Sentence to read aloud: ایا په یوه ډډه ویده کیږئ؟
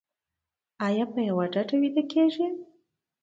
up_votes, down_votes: 2, 0